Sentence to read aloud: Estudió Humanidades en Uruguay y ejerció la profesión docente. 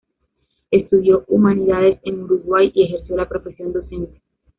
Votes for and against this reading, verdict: 2, 0, accepted